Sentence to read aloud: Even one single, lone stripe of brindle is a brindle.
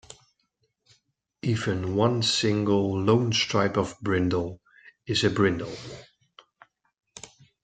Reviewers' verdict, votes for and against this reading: accepted, 2, 0